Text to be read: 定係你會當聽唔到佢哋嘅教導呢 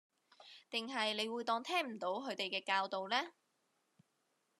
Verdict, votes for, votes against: rejected, 1, 2